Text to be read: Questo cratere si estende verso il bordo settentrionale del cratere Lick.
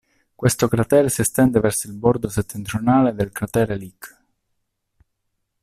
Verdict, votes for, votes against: rejected, 1, 2